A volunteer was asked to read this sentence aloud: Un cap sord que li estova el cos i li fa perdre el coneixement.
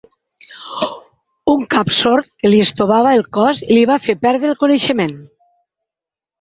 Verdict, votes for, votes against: rejected, 0, 6